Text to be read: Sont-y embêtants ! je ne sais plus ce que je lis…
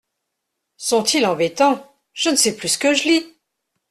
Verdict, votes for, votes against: rejected, 1, 2